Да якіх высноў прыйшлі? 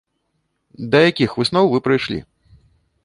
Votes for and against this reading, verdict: 0, 2, rejected